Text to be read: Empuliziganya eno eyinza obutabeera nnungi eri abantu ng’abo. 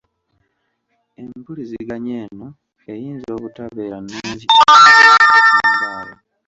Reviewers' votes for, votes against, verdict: 1, 2, rejected